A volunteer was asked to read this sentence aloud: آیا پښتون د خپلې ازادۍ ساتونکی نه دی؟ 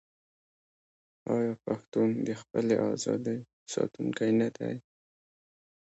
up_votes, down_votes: 0, 2